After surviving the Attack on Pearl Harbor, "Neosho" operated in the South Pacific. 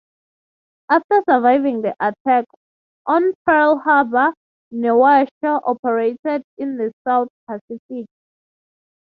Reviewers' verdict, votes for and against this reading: accepted, 3, 0